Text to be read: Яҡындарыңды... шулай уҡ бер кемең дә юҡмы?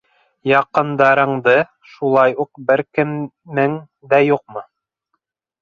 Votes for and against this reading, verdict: 1, 2, rejected